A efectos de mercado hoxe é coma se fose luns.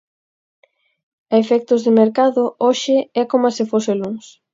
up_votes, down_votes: 4, 0